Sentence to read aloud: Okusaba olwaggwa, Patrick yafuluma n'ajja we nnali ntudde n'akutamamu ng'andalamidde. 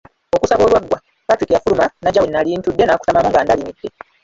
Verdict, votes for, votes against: rejected, 1, 2